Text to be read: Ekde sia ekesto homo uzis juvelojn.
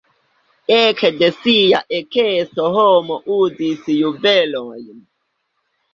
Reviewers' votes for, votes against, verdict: 1, 2, rejected